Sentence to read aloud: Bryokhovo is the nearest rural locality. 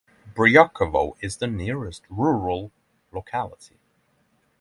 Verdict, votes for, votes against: accepted, 6, 0